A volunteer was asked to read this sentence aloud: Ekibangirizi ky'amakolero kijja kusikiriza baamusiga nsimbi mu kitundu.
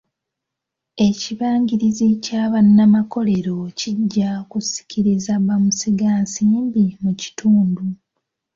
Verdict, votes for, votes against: rejected, 1, 2